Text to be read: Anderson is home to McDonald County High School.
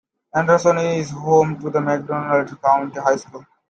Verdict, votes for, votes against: accepted, 2, 1